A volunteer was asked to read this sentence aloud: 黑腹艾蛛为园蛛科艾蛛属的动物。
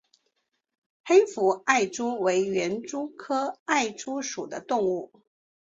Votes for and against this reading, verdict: 3, 0, accepted